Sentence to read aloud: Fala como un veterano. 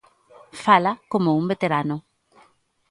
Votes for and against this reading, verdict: 3, 0, accepted